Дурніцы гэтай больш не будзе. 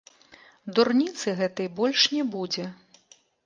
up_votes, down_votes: 1, 3